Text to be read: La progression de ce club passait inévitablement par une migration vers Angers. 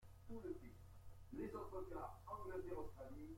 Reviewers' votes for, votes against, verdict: 0, 2, rejected